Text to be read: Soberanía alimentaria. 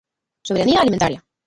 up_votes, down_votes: 0, 3